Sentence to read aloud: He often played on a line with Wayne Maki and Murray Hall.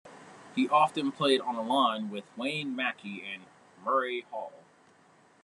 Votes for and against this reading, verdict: 2, 1, accepted